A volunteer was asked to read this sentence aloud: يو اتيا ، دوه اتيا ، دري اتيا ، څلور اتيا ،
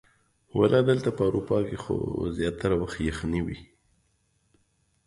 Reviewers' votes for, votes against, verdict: 1, 2, rejected